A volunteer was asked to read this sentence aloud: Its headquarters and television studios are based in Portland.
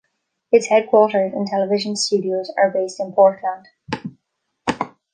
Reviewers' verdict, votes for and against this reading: accepted, 2, 0